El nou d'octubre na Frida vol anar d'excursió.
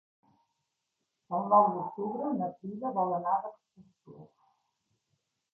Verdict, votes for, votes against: rejected, 0, 2